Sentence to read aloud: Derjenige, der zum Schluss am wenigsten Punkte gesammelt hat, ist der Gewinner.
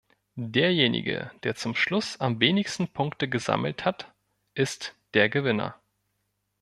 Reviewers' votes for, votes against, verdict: 2, 0, accepted